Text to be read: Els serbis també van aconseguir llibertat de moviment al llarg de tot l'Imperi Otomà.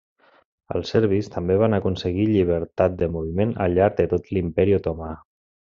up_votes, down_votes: 2, 0